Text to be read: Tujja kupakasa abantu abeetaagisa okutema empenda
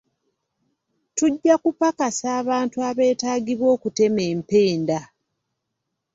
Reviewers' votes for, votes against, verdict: 0, 2, rejected